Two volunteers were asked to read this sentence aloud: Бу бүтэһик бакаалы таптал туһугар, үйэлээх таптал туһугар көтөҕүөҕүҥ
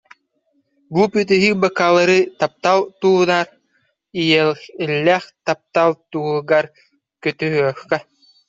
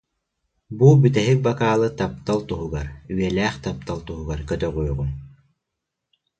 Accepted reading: second